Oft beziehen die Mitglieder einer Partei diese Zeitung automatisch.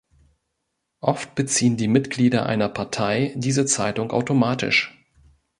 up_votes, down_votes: 2, 0